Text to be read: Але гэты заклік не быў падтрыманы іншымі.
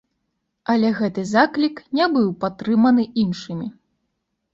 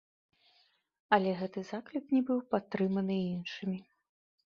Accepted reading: first